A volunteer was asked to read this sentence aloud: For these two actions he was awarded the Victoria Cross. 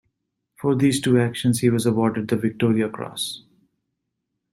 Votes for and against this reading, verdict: 2, 0, accepted